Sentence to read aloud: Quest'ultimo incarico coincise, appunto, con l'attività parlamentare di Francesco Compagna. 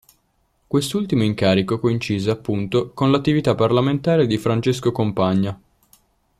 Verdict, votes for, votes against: accepted, 2, 0